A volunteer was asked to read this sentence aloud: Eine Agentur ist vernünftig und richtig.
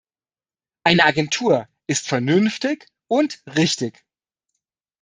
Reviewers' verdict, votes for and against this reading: accepted, 2, 0